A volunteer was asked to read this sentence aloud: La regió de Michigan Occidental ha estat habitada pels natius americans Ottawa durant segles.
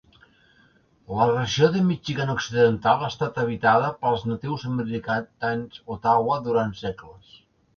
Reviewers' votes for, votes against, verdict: 0, 2, rejected